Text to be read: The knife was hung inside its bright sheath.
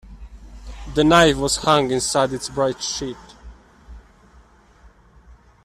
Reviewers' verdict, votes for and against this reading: rejected, 1, 2